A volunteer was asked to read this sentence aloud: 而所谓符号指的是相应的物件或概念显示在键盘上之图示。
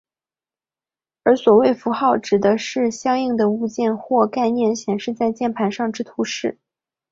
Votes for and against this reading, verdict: 2, 0, accepted